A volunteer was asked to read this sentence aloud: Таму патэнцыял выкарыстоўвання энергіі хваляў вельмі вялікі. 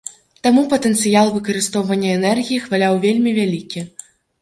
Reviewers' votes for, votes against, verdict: 1, 2, rejected